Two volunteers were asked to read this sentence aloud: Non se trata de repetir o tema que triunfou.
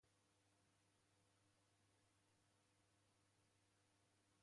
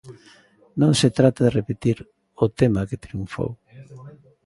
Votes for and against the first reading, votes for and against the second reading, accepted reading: 0, 2, 2, 0, second